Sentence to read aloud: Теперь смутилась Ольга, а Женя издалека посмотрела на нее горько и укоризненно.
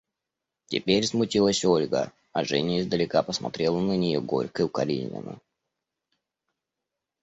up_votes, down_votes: 2, 0